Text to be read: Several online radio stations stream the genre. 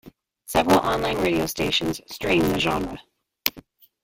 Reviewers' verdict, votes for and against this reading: accepted, 2, 0